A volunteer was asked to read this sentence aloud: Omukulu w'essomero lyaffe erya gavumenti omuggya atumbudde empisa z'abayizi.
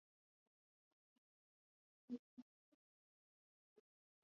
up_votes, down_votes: 1, 2